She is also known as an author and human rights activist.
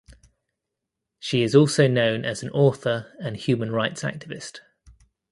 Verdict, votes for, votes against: accepted, 2, 0